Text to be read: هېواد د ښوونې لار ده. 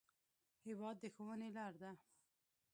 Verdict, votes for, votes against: rejected, 1, 2